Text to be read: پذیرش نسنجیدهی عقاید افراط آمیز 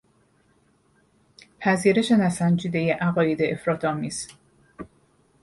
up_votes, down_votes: 2, 0